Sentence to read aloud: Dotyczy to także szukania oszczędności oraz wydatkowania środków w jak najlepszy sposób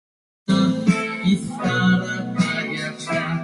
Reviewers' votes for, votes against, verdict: 0, 2, rejected